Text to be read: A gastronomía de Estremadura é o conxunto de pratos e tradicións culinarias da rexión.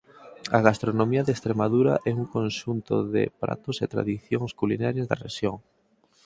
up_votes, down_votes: 2, 4